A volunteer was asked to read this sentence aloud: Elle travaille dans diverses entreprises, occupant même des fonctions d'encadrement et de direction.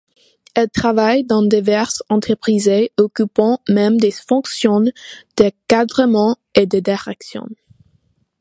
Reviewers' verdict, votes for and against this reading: rejected, 1, 2